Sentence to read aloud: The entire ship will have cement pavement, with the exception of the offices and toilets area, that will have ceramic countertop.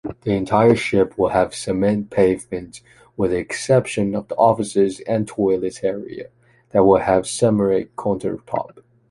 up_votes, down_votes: 0, 2